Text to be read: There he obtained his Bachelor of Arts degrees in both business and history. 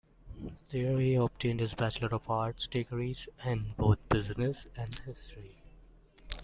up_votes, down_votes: 1, 2